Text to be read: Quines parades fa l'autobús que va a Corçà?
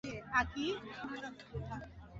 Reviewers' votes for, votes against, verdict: 0, 2, rejected